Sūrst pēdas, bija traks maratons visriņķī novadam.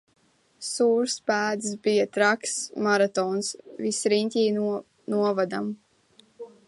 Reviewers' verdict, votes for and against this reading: rejected, 0, 2